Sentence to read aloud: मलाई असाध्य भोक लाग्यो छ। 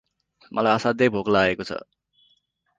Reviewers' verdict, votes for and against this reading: rejected, 2, 2